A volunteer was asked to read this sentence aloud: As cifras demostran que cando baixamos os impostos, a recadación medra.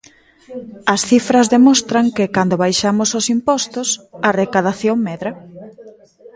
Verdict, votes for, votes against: rejected, 0, 2